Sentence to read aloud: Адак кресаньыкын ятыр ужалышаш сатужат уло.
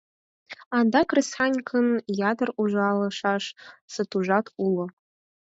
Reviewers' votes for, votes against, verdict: 4, 2, accepted